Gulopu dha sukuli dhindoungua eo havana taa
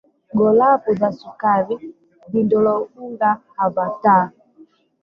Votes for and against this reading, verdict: 0, 2, rejected